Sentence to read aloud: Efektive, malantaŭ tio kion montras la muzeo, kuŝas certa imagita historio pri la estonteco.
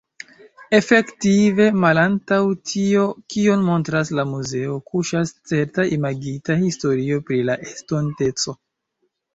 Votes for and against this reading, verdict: 2, 1, accepted